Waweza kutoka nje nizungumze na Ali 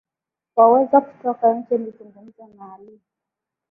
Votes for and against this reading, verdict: 9, 1, accepted